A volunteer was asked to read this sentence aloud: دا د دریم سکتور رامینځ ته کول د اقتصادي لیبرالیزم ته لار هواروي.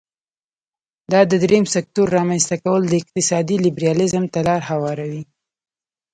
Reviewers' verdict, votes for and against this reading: accepted, 2, 0